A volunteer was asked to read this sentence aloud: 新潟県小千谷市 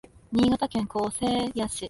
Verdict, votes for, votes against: rejected, 1, 2